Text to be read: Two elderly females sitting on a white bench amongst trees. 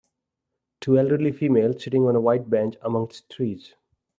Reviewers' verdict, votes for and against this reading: accepted, 4, 0